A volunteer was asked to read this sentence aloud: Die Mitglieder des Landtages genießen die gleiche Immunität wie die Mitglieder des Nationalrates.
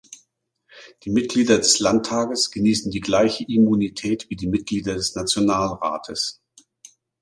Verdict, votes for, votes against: accepted, 2, 0